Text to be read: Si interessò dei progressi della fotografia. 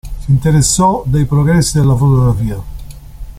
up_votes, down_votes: 2, 0